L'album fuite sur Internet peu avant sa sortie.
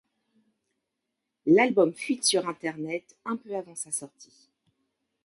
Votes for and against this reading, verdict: 0, 2, rejected